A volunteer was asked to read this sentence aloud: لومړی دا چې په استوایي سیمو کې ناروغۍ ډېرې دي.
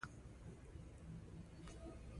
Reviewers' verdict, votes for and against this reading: accepted, 2, 0